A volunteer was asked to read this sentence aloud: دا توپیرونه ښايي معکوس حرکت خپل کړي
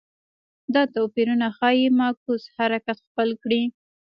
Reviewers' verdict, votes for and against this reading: accepted, 2, 0